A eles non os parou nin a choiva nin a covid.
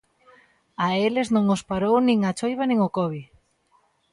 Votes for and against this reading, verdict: 0, 2, rejected